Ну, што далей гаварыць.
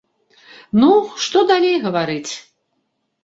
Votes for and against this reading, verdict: 2, 0, accepted